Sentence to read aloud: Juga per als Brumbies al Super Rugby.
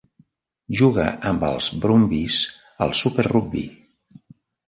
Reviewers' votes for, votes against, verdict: 0, 2, rejected